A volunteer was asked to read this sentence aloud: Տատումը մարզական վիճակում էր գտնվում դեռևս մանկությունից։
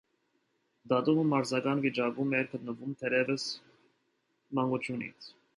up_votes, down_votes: 2, 0